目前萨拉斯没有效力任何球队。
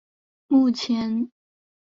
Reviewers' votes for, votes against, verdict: 4, 1, accepted